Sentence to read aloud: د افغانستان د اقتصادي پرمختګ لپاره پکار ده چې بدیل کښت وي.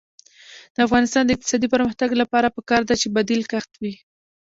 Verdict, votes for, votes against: accepted, 2, 0